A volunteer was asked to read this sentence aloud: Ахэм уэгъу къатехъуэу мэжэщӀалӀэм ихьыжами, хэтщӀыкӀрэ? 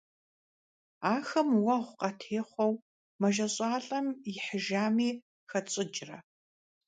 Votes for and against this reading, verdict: 2, 0, accepted